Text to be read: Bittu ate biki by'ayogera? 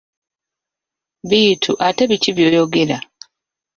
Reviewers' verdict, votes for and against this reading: rejected, 0, 2